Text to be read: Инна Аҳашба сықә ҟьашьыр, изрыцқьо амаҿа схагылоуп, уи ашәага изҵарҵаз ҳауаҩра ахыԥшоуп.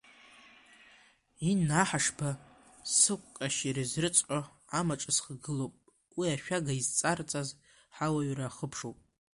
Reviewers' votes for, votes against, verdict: 2, 0, accepted